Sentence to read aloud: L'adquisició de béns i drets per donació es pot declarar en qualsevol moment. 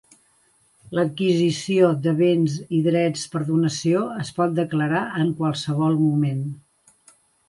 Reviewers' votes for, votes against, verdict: 2, 0, accepted